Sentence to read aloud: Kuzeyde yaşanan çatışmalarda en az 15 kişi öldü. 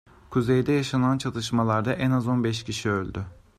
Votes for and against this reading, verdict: 0, 2, rejected